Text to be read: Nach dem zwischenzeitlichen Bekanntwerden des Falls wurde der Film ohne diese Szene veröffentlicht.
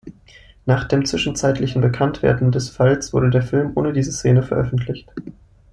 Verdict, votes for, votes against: accepted, 2, 0